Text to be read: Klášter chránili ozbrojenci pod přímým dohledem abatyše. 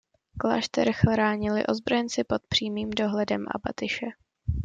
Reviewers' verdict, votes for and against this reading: accepted, 2, 0